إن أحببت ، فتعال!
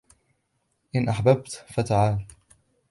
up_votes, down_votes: 2, 0